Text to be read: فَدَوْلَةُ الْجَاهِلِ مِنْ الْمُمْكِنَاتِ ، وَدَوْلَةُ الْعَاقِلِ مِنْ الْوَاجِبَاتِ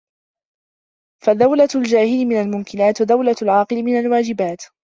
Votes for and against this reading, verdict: 2, 0, accepted